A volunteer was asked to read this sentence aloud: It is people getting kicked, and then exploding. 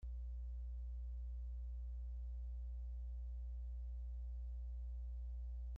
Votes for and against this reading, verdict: 0, 2, rejected